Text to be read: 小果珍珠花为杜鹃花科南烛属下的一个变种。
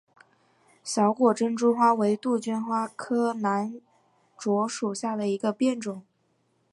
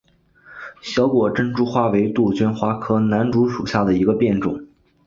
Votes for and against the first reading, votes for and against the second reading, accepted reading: 0, 2, 2, 0, second